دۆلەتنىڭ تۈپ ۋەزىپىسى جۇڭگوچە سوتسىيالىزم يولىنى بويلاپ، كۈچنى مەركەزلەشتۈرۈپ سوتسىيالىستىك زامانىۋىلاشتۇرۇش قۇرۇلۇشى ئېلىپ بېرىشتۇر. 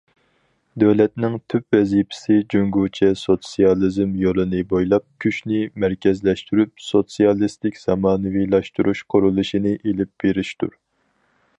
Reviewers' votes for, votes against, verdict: 2, 2, rejected